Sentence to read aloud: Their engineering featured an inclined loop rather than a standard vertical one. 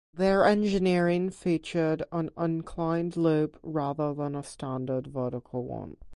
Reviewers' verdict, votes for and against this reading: accepted, 2, 0